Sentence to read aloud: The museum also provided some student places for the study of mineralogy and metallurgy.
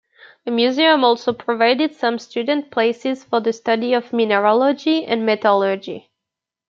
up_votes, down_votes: 2, 0